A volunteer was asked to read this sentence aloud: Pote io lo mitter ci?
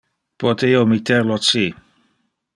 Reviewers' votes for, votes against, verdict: 1, 2, rejected